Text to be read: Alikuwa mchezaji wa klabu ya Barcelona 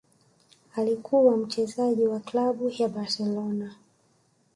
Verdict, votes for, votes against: rejected, 1, 2